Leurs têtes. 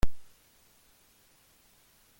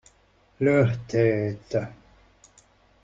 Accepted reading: second